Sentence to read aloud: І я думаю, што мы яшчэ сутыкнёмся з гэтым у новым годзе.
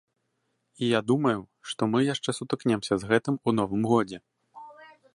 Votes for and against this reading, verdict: 0, 2, rejected